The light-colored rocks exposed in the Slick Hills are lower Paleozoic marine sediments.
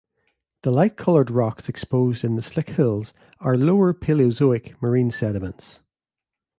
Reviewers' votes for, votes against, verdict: 2, 0, accepted